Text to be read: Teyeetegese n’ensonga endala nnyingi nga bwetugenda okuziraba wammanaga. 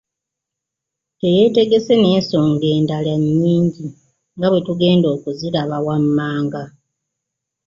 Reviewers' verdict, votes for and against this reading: accepted, 2, 1